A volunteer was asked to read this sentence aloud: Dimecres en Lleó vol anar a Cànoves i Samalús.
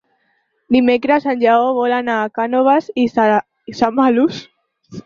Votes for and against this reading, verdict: 0, 6, rejected